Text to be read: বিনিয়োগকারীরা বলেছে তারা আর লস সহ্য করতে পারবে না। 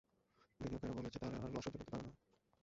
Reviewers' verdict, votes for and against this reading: rejected, 0, 2